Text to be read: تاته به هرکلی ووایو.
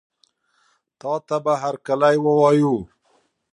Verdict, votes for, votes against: accepted, 2, 0